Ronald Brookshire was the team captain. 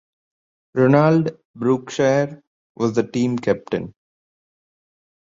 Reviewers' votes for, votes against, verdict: 2, 0, accepted